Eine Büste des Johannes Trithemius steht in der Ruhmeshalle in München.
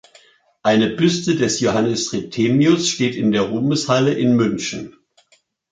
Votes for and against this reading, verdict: 2, 0, accepted